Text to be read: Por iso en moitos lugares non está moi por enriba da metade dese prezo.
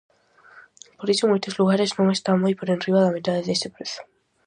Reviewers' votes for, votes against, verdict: 2, 0, accepted